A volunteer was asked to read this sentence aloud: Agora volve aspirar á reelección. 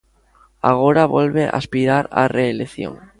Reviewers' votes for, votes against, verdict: 2, 0, accepted